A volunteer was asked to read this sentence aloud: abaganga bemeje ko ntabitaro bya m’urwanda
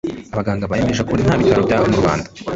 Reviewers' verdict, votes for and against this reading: rejected, 1, 2